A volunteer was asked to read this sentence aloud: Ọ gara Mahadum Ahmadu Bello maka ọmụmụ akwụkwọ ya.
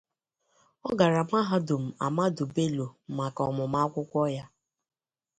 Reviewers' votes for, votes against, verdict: 2, 0, accepted